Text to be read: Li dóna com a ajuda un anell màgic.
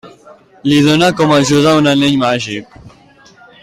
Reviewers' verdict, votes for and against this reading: accepted, 2, 1